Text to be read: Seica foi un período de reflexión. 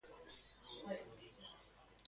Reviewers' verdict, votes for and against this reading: rejected, 0, 2